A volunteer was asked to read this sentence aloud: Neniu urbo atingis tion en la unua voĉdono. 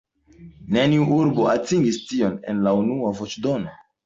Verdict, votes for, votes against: accepted, 2, 0